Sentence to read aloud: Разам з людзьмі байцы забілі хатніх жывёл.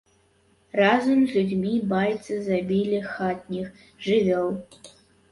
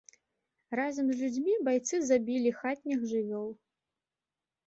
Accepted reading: second